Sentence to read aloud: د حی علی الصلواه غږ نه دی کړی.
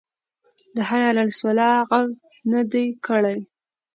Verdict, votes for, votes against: accepted, 2, 0